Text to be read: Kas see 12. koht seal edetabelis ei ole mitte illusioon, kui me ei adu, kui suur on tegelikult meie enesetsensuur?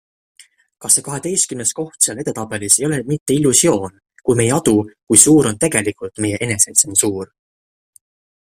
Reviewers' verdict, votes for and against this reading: rejected, 0, 2